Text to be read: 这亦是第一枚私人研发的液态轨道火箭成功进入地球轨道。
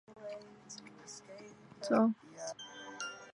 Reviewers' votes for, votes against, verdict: 0, 4, rejected